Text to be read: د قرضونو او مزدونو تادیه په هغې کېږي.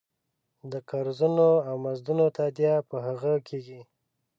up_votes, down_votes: 2, 0